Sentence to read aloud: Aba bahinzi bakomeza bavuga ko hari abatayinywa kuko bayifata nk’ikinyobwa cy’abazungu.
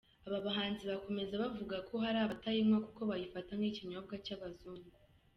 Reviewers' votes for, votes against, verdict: 0, 2, rejected